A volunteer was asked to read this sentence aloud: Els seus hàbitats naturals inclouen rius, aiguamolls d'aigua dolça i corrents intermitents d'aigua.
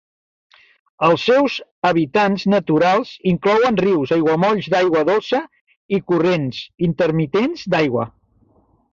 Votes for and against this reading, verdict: 0, 3, rejected